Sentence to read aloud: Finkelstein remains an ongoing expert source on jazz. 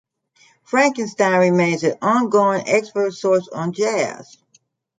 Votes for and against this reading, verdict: 1, 2, rejected